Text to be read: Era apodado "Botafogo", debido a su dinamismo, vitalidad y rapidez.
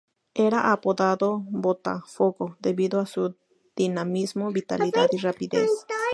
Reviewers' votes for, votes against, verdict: 2, 0, accepted